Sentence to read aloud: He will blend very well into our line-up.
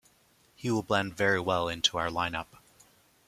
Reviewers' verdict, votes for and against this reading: accepted, 2, 0